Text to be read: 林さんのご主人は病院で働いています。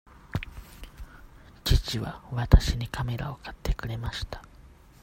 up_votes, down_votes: 0, 2